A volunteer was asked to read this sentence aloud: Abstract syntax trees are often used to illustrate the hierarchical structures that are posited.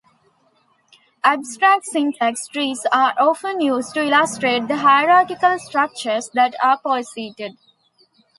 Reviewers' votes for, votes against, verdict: 0, 2, rejected